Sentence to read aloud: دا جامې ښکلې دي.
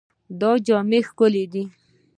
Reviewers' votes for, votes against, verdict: 2, 0, accepted